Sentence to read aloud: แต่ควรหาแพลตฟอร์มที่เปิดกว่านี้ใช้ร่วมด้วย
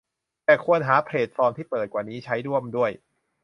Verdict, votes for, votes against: rejected, 1, 2